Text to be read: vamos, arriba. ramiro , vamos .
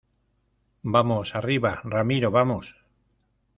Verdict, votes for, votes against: accepted, 2, 0